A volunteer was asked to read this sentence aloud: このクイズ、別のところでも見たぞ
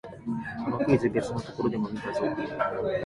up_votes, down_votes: 1, 2